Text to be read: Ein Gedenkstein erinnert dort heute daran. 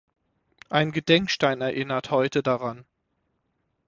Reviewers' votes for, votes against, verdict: 0, 6, rejected